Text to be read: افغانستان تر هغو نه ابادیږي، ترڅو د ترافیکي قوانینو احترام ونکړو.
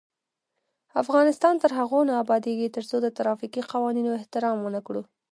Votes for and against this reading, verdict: 0, 2, rejected